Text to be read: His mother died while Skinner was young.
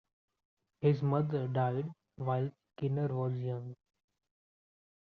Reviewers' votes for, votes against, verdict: 2, 1, accepted